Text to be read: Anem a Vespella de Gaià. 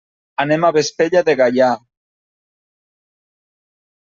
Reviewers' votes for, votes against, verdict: 3, 0, accepted